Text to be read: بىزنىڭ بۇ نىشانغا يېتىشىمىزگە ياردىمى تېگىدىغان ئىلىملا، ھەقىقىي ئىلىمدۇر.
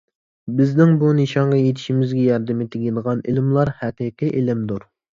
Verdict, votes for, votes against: rejected, 1, 2